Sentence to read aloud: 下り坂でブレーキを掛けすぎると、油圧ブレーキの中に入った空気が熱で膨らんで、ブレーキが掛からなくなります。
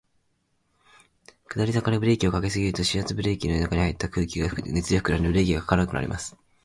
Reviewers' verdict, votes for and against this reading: rejected, 0, 4